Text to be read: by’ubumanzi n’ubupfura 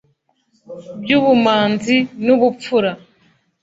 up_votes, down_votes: 2, 0